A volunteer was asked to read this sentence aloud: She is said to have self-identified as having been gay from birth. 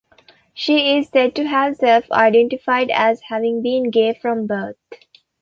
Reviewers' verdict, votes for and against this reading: accepted, 2, 0